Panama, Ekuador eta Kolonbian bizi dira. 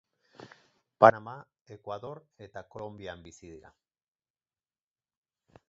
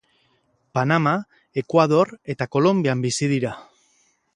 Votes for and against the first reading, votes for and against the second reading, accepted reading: 0, 4, 4, 0, second